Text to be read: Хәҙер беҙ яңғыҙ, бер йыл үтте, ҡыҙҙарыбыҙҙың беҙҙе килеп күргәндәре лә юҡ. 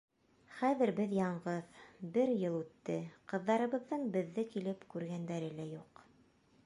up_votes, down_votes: 2, 0